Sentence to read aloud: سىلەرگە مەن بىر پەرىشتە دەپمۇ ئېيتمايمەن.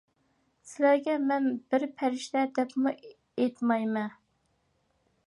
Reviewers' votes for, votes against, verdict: 2, 0, accepted